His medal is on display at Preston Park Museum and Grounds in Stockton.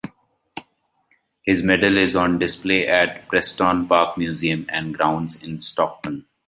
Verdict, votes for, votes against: accepted, 2, 0